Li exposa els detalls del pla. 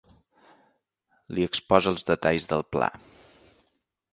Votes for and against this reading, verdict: 3, 0, accepted